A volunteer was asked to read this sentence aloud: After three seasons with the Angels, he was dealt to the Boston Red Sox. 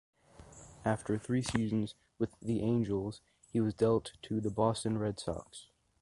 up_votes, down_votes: 2, 0